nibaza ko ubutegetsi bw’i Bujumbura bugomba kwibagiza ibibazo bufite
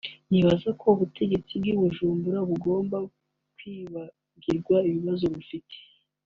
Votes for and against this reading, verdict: 1, 2, rejected